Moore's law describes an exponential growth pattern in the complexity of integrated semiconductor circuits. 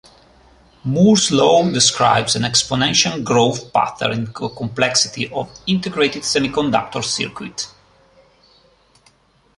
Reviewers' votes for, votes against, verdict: 2, 1, accepted